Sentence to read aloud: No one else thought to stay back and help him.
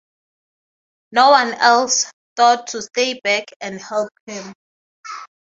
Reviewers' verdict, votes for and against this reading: accepted, 3, 0